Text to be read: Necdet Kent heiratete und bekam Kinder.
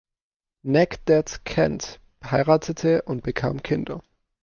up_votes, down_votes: 2, 0